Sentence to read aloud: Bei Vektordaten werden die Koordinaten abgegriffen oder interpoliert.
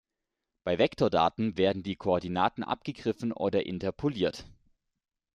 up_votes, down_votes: 2, 0